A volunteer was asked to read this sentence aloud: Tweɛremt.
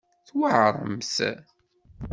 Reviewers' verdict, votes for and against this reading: accepted, 2, 0